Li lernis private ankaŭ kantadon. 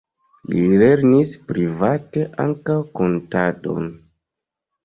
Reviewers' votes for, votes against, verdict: 1, 2, rejected